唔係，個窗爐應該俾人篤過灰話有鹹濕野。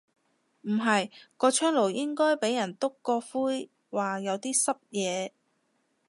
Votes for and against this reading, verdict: 0, 2, rejected